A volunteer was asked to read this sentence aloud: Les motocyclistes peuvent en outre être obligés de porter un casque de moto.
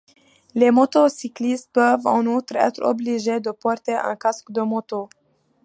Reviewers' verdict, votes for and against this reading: accepted, 2, 0